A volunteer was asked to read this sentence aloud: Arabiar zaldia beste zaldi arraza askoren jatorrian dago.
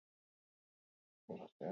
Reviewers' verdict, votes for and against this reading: rejected, 0, 2